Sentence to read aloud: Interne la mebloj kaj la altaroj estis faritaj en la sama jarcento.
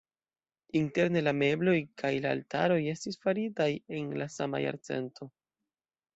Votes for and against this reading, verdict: 2, 0, accepted